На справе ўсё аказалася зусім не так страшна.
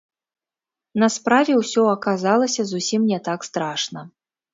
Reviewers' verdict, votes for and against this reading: rejected, 1, 2